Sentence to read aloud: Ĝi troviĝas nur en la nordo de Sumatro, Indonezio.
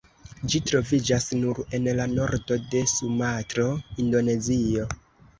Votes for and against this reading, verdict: 2, 0, accepted